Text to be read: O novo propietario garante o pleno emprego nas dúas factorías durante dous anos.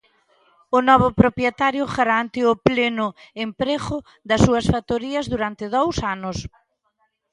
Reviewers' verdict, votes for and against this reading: rejected, 1, 2